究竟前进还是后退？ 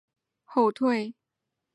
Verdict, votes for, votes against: rejected, 2, 3